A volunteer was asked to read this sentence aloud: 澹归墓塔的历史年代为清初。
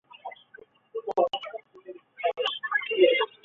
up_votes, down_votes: 0, 2